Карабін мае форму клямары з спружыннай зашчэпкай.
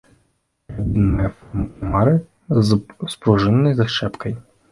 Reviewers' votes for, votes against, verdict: 0, 2, rejected